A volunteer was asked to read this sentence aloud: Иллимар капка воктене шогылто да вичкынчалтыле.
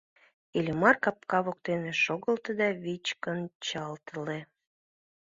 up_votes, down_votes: 1, 2